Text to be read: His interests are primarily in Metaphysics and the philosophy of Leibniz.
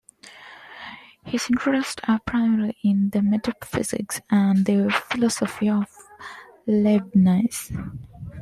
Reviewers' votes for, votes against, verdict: 2, 0, accepted